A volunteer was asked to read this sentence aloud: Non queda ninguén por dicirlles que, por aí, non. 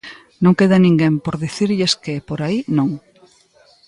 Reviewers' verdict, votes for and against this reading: accepted, 2, 0